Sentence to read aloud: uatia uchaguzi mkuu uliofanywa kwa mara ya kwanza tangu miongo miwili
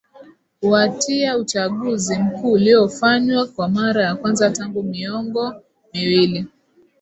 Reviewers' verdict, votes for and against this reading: accepted, 2, 0